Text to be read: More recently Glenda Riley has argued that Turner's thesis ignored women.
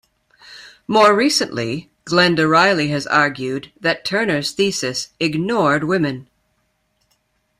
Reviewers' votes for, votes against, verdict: 2, 0, accepted